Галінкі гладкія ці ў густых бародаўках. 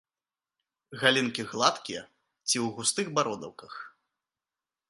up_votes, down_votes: 3, 0